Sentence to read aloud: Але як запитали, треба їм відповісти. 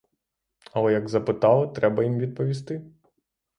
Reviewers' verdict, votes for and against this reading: accepted, 6, 0